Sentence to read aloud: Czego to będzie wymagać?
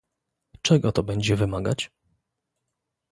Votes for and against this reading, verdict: 2, 0, accepted